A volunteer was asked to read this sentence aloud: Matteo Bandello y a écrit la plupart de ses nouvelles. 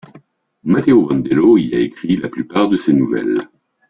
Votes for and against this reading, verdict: 2, 0, accepted